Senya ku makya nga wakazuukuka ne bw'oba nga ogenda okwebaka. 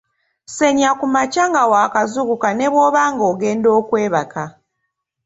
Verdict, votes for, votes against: accepted, 2, 0